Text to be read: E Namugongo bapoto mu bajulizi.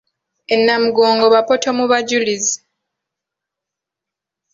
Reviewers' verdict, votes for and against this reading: accepted, 2, 0